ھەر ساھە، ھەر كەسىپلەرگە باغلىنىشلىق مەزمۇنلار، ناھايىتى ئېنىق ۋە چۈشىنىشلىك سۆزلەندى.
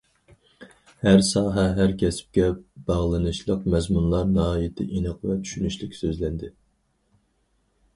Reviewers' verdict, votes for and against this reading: rejected, 2, 2